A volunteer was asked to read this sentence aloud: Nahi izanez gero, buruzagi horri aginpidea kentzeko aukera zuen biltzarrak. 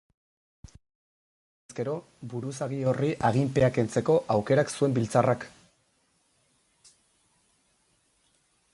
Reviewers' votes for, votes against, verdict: 2, 4, rejected